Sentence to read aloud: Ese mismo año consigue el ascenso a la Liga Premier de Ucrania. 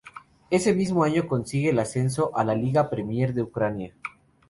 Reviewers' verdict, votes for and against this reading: accepted, 2, 0